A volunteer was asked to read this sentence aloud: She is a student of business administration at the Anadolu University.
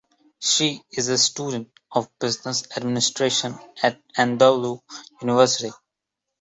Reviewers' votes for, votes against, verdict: 0, 2, rejected